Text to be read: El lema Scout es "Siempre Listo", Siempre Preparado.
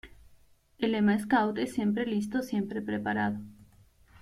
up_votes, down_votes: 1, 2